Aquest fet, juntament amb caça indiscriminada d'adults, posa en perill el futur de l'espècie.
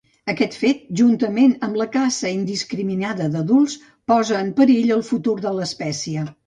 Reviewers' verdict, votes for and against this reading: rejected, 0, 2